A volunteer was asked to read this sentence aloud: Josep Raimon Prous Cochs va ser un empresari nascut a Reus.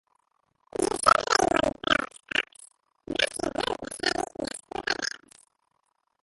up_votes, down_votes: 0, 2